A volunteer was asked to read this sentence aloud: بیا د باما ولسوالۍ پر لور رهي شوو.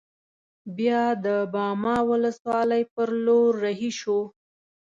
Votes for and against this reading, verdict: 2, 0, accepted